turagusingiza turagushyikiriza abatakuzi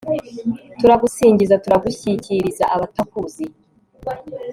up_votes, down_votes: 3, 0